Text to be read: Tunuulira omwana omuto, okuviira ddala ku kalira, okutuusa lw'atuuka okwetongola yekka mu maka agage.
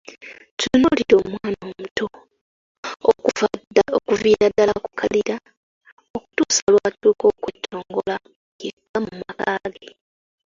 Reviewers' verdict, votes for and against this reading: rejected, 0, 2